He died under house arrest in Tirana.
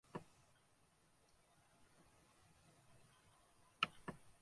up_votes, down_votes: 0, 2